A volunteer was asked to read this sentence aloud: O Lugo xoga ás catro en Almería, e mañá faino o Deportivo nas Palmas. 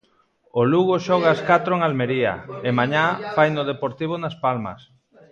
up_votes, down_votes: 2, 1